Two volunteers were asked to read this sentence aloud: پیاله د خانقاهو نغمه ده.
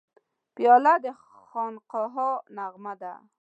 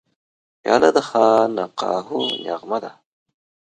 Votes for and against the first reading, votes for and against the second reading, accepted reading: 0, 2, 2, 0, second